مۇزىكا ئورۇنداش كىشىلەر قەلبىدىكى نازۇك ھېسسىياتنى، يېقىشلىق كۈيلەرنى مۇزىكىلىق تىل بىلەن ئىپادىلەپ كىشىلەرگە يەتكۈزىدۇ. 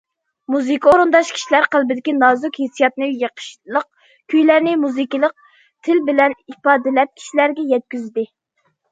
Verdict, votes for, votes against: rejected, 0, 2